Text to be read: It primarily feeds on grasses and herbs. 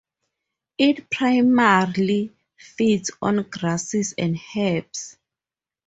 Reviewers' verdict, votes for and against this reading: accepted, 2, 0